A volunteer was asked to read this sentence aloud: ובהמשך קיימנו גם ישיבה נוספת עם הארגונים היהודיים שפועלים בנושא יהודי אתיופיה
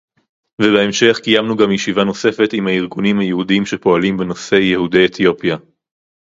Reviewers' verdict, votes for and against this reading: accepted, 2, 0